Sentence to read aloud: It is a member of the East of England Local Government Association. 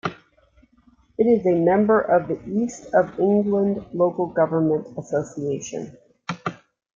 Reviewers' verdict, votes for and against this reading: accepted, 2, 0